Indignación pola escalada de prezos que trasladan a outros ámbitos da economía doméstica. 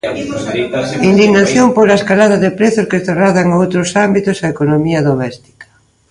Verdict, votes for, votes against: rejected, 1, 2